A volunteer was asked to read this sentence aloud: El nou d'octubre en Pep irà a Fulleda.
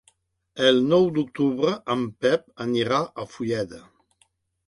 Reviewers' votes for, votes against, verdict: 0, 2, rejected